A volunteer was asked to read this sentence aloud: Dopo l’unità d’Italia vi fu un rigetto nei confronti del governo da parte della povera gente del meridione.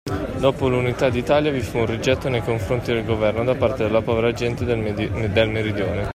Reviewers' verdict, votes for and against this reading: rejected, 0, 2